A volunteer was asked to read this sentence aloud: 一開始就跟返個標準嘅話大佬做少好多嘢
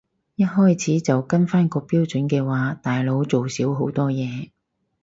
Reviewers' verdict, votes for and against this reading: accepted, 4, 0